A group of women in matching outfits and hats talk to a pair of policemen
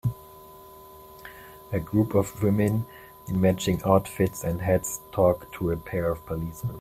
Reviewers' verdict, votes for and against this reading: rejected, 1, 2